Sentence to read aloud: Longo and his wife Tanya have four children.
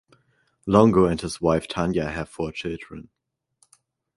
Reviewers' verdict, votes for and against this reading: accepted, 4, 0